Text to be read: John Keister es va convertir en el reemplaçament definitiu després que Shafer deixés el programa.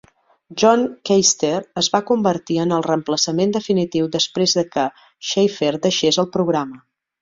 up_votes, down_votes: 2, 3